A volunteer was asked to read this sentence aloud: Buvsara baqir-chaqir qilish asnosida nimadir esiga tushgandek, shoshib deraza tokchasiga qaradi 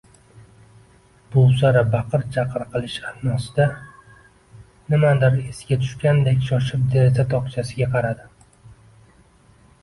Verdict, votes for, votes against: accepted, 2, 1